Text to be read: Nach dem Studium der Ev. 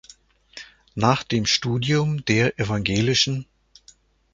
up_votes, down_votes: 0, 2